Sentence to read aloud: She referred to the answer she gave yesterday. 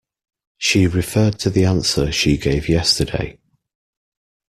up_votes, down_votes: 3, 0